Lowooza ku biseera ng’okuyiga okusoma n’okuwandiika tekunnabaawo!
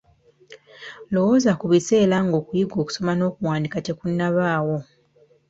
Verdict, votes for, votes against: accepted, 2, 1